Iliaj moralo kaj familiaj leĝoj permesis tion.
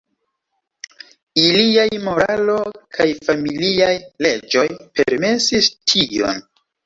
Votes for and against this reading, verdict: 2, 0, accepted